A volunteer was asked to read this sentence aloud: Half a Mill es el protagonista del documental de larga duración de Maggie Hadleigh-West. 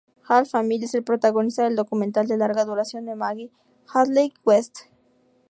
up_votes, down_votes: 2, 0